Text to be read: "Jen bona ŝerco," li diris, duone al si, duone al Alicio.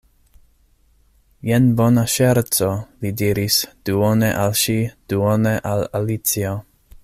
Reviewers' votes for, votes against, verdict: 0, 2, rejected